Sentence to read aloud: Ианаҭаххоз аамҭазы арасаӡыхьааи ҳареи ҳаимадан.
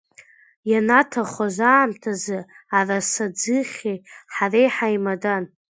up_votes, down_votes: 0, 2